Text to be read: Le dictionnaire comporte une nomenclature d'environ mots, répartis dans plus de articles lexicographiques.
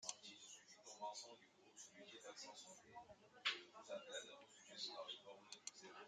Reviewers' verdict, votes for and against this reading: rejected, 0, 2